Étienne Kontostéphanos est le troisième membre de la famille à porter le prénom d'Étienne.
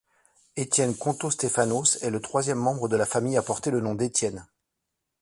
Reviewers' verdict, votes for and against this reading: rejected, 1, 2